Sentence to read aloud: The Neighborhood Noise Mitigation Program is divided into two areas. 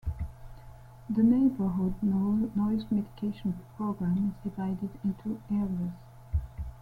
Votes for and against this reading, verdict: 0, 2, rejected